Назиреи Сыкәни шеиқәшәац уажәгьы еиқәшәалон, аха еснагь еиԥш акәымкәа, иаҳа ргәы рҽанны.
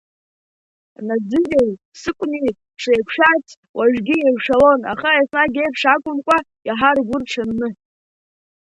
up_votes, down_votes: 1, 2